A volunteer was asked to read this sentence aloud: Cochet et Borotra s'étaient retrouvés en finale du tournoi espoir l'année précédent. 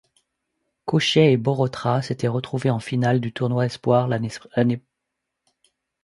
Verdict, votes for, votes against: rejected, 1, 2